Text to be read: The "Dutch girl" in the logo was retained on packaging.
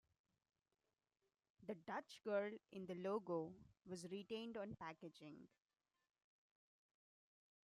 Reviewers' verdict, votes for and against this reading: accepted, 2, 1